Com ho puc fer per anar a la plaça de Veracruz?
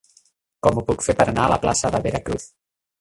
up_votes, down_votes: 3, 0